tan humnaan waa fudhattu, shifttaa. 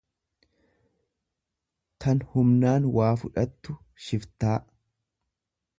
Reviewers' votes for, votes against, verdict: 1, 2, rejected